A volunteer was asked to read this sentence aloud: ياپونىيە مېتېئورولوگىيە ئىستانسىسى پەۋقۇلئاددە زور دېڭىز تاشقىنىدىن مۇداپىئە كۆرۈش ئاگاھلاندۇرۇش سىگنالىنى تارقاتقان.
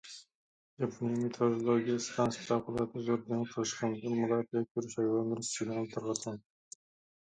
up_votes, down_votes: 0, 2